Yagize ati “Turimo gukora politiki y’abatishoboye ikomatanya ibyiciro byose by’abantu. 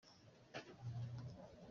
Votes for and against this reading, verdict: 0, 2, rejected